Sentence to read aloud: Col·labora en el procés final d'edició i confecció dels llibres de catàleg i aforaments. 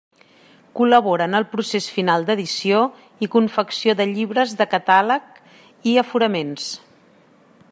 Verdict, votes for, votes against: rejected, 0, 2